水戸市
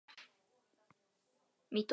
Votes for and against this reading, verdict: 0, 2, rejected